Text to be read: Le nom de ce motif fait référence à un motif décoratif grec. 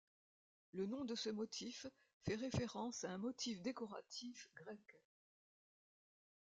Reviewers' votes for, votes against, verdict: 0, 2, rejected